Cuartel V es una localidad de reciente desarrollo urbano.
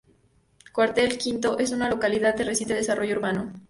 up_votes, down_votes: 0, 2